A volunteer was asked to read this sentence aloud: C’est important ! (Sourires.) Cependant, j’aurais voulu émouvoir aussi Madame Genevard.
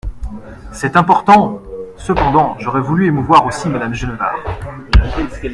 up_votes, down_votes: 0, 2